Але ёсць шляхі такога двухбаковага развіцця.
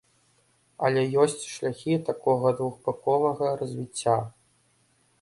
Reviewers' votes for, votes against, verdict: 2, 0, accepted